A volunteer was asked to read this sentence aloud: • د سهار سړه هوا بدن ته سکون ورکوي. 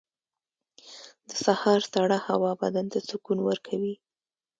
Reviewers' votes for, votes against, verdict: 2, 1, accepted